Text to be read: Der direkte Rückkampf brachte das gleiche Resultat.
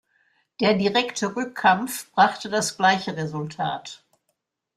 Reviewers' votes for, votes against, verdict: 2, 0, accepted